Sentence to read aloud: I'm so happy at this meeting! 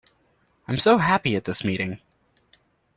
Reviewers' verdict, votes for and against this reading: accepted, 2, 0